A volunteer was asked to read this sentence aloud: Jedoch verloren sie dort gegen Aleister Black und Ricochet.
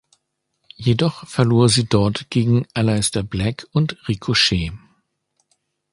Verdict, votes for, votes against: rejected, 0, 2